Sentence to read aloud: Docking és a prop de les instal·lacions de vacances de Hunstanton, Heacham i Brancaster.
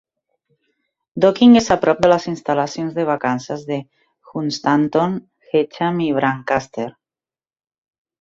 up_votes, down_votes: 2, 0